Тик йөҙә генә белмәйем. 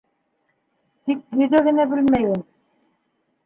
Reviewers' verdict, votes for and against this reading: rejected, 1, 2